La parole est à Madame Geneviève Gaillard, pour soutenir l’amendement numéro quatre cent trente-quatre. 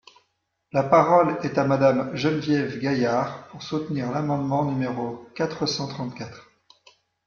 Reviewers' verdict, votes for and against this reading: accepted, 2, 0